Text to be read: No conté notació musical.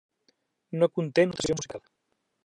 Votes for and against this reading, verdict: 0, 2, rejected